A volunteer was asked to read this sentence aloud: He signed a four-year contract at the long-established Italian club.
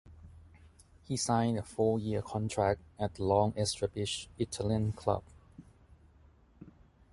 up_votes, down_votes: 2, 4